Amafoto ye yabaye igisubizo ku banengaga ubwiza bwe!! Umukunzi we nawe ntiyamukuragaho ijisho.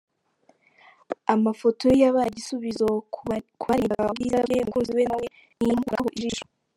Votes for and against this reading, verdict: 0, 3, rejected